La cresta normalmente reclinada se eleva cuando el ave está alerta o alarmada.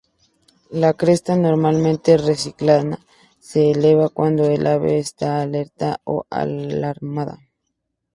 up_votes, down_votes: 2, 0